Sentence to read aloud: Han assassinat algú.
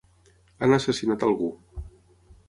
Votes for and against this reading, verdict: 6, 0, accepted